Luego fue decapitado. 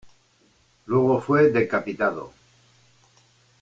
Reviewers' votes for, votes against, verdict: 2, 0, accepted